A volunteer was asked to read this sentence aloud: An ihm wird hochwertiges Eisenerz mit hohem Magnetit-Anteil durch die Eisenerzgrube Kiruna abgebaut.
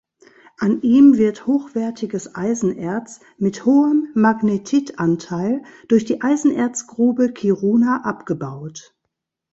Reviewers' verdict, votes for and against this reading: accepted, 2, 0